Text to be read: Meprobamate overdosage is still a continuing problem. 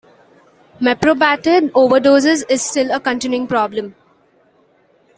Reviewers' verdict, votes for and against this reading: accepted, 2, 0